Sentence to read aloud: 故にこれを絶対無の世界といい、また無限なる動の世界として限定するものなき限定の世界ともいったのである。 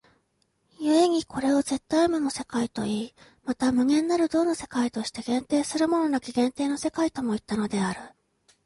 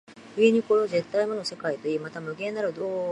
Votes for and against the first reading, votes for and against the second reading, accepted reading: 2, 0, 0, 2, first